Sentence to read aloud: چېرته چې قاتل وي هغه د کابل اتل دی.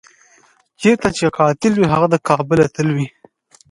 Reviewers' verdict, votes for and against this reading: rejected, 1, 2